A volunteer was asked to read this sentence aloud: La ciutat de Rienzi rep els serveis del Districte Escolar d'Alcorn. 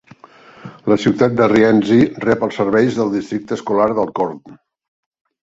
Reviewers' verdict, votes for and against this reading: accepted, 2, 0